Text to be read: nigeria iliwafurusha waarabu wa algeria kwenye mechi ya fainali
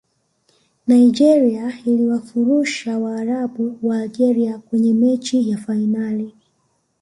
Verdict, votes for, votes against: accepted, 2, 0